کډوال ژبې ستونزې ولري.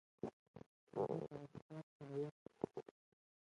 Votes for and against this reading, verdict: 0, 3, rejected